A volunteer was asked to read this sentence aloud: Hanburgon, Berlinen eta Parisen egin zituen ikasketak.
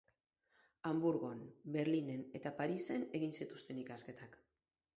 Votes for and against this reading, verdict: 0, 6, rejected